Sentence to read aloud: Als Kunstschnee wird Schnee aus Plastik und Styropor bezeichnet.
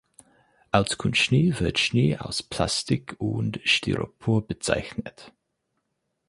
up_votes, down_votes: 4, 0